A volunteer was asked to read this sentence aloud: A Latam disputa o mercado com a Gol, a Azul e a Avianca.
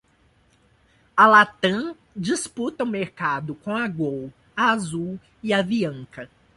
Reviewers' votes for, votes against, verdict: 2, 1, accepted